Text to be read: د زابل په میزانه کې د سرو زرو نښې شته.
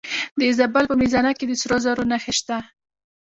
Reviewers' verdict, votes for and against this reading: accepted, 2, 1